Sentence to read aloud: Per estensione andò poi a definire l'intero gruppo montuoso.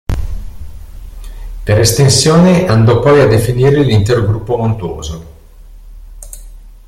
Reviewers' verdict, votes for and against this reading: accepted, 2, 0